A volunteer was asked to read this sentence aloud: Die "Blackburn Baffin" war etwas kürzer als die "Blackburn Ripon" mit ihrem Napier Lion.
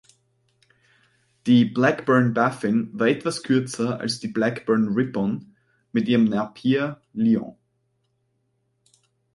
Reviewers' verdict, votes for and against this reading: rejected, 0, 4